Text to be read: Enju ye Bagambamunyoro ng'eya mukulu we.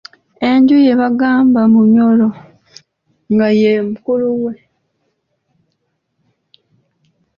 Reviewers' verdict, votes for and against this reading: rejected, 1, 2